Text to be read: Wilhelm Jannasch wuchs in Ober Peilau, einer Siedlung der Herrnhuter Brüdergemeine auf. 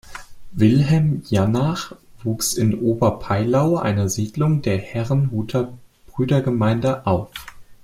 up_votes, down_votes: 1, 2